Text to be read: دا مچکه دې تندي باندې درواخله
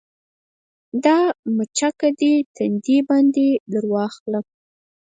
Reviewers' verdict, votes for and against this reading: rejected, 0, 4